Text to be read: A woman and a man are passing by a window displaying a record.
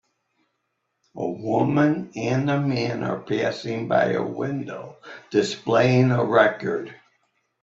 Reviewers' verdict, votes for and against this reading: accepted, 2, 1